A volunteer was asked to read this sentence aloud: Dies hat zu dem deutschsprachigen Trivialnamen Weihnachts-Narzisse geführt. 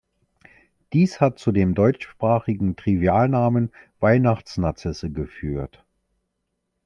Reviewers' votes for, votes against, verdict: 2, 0, accepted